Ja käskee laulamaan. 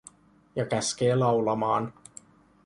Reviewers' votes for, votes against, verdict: 2, 0, accepted